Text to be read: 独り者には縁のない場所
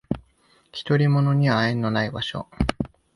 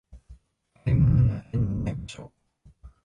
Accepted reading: first